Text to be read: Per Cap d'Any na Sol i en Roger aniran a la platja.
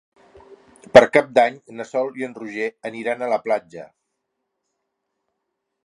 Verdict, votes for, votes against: accepted, 3, 0